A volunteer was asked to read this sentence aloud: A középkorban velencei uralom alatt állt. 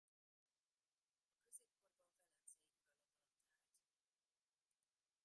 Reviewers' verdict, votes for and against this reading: rejected, 0, 2